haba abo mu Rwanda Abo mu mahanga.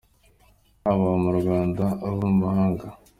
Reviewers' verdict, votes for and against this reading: accepted, 2, 0